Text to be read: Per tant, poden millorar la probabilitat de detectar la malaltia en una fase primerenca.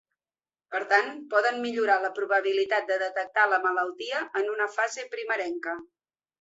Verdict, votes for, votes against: accepted, 3, 0